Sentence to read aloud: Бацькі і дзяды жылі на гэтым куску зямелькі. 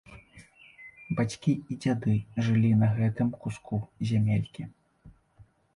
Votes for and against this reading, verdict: 2, 0, accepted